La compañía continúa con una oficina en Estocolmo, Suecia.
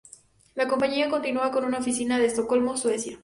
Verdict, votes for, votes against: accepted, 4, 0